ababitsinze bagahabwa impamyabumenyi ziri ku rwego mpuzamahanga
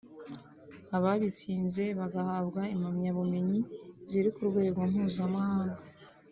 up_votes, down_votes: 2, 0